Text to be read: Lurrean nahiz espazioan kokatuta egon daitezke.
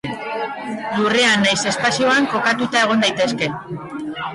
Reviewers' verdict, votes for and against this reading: rejected, 0, 2